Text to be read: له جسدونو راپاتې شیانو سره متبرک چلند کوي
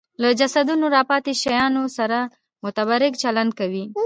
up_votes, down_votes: 2, 0